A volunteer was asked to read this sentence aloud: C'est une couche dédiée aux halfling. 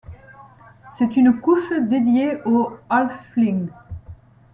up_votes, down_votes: 2, 0